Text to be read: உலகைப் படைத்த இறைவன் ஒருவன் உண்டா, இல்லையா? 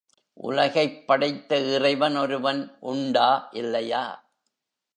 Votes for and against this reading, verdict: 2, 0, accepted